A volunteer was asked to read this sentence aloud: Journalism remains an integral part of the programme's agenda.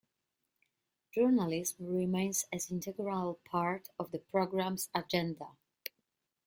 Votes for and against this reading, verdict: 0, 2, rejected